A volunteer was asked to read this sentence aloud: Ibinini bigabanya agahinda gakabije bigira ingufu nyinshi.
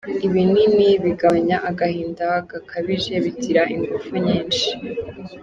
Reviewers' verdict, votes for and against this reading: accepted, 2, 0